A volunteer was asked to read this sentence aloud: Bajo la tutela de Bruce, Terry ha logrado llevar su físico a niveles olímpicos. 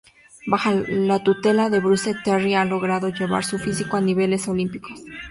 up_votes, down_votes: 0, 2